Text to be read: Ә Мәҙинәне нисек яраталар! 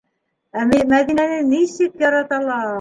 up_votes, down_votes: 0, 2